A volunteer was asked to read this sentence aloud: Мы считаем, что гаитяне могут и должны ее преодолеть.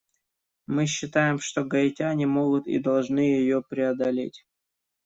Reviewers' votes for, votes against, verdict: 2, 0, accepted